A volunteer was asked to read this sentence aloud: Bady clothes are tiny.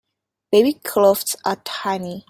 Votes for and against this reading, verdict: 0, 2, rejected